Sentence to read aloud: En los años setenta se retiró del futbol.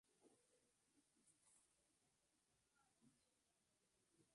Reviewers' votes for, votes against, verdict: 0, 2, rejected